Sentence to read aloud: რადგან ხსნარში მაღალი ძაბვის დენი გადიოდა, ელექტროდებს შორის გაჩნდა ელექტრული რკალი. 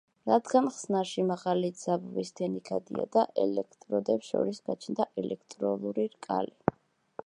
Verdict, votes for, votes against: rejected, 0, 2